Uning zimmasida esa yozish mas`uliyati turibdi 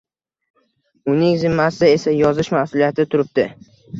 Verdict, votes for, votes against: accepted, 2, 0